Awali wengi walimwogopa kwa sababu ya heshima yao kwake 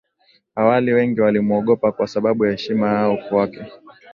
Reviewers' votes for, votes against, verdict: 3, 1, accepted